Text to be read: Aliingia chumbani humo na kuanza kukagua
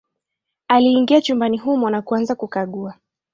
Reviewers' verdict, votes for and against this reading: rejected, 1, 2